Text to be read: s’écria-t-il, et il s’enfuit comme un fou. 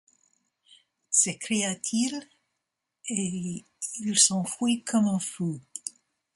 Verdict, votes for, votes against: accepted, 2, 0